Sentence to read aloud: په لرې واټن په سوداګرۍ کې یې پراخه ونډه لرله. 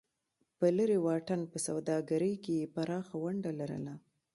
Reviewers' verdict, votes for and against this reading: accepted, 2, 0